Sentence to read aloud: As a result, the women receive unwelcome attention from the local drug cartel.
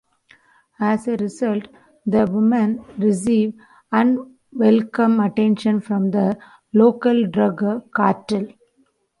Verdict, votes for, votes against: accepted, 2, 0